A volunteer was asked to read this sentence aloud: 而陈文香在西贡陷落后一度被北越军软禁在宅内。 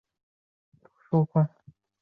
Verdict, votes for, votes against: rejected, 0, 3